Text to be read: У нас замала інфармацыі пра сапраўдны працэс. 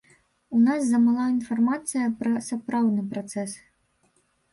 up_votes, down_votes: 0, 2